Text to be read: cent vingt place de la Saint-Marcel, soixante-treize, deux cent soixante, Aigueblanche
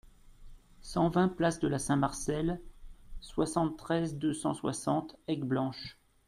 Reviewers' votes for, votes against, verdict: 2, 0, accepted